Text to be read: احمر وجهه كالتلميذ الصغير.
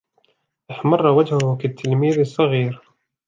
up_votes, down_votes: 0, 2